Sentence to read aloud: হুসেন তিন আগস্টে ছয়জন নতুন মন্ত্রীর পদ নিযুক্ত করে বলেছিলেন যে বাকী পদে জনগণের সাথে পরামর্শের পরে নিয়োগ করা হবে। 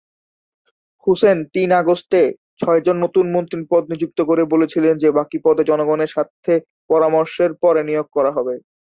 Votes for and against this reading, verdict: 1, 2, rejected